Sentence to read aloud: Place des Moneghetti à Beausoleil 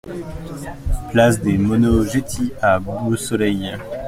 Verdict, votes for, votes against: rejected, 0, 2